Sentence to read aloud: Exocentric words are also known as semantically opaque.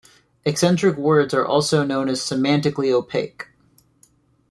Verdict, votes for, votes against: rejected, 1, 2